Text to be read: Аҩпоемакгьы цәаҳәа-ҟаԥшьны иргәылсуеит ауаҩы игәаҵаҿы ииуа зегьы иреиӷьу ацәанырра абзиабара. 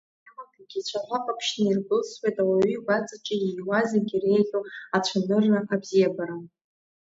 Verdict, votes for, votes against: rejected, 0, 2